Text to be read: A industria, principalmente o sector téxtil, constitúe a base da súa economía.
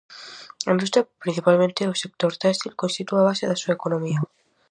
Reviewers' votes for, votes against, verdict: 4, 0, accepted